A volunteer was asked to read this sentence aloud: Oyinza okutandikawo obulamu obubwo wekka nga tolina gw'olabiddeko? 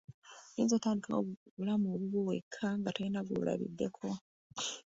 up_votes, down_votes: 1, 2